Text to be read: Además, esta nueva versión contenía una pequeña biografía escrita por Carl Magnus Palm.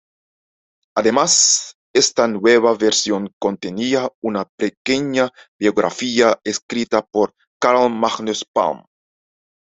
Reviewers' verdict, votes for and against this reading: accepted, 2, 0